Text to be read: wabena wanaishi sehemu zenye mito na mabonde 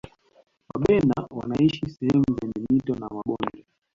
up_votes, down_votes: 2, 0